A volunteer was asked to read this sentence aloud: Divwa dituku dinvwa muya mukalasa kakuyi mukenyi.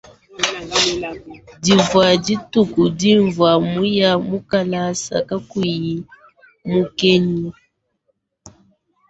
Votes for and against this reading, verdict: 2, 0, accepted